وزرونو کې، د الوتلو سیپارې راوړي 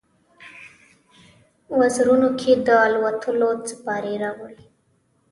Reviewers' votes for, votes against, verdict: 1, 2, rejected